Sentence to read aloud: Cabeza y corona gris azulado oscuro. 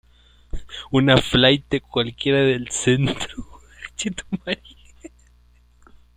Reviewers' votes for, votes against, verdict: 0, 2, rejected